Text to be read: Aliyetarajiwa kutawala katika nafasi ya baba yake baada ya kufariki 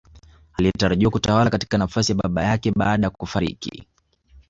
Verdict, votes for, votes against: accepted, 2, 1